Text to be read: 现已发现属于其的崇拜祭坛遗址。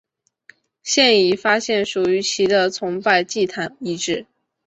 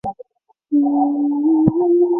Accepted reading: first